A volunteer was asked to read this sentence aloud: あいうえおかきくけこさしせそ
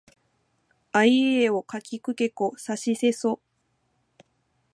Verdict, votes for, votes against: rejected, 0, 2